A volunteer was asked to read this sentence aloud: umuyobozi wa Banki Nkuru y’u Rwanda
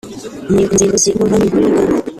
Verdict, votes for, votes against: rejected, 1, 2